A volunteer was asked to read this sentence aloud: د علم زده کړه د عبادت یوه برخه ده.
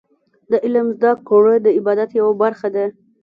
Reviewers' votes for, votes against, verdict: 2, 0, accepted